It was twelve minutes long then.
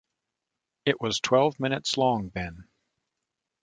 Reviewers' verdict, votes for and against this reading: accepted, 2, 0